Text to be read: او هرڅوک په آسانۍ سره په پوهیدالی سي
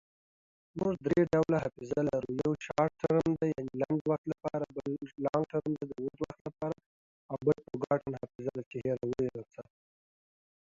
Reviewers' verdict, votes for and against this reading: rejected, 0, 2